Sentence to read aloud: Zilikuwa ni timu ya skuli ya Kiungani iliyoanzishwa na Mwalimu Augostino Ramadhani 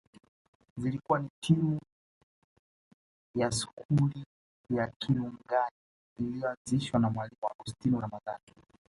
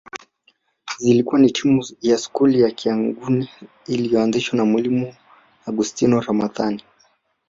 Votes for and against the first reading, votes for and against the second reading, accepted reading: 2, 0, 0, 2, first